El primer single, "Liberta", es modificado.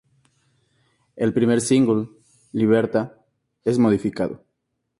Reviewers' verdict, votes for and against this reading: accepted, 4, 0